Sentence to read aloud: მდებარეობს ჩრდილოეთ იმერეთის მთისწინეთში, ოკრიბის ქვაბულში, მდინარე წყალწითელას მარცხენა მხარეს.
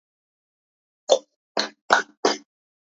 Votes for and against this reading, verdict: 0, 2, rejected